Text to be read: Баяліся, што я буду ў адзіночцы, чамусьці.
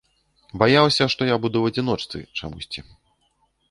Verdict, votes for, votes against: rejected, 0, 2